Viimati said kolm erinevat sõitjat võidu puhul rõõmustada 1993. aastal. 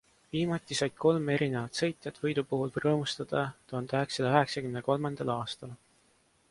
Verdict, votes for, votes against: rejected, 0, 2